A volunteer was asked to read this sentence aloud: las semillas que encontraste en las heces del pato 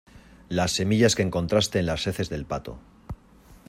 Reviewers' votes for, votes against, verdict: 2, 0, accepted